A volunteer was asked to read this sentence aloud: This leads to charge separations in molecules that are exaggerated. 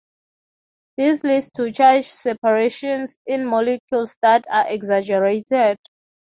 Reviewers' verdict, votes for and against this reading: accepted, 6, 0